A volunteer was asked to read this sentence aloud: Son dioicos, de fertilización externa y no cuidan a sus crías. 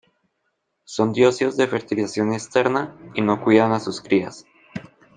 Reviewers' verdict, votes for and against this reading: rejected, 1, 2